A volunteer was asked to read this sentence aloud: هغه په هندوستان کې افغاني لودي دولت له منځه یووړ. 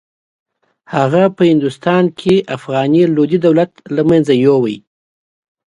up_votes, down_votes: 4, 1